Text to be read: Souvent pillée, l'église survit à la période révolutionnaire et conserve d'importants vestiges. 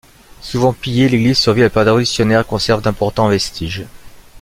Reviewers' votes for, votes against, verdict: 1, 2, rejected